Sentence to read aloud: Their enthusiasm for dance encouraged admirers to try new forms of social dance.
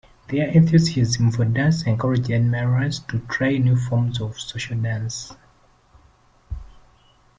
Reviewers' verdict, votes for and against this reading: rejected, 1, 2